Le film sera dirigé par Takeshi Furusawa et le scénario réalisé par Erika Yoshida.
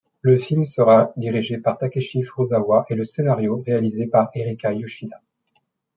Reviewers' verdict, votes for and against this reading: accepted, 2, 0